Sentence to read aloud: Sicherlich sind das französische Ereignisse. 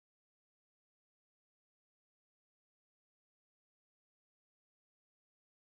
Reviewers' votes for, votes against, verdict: 0, 2, rejected